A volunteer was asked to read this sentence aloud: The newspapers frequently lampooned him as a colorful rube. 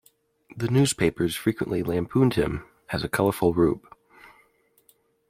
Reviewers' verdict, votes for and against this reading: accepted, 2, 0